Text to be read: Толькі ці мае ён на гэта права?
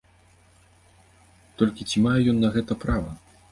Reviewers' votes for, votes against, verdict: 2, 0, accepted